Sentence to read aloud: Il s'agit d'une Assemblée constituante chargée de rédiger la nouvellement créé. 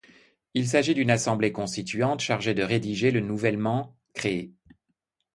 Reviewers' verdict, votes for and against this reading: rejected, 0, 2